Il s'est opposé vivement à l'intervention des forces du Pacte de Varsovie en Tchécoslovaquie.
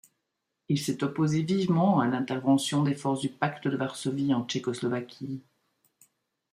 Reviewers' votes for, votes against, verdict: 2, 0, accepted